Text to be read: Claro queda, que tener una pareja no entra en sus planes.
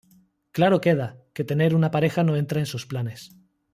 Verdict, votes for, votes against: rejected, 1, 2